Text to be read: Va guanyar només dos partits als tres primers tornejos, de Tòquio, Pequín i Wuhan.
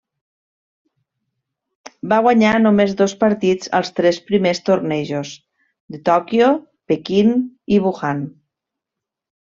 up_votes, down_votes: 2, 0